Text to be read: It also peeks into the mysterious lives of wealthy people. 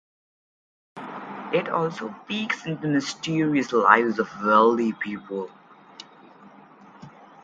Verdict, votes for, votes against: rejected, 0, 4